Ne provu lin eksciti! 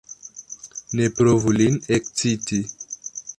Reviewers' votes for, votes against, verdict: 0, 2, rejected